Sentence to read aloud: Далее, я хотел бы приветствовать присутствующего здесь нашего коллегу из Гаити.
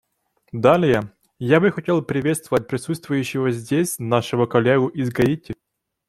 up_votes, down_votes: 1, 2